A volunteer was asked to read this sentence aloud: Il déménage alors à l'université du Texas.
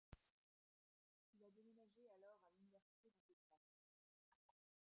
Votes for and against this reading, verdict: 0, 2, rejected